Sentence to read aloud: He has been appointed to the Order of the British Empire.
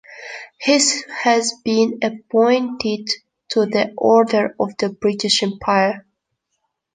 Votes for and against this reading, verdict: 0, 2, rejected